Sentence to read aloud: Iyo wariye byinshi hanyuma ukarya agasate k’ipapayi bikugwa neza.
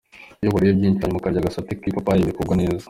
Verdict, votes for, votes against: rejected, 1, 2